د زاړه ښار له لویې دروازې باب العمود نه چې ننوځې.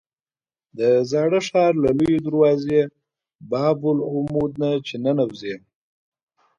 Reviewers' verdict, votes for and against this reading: accepted, 2, 1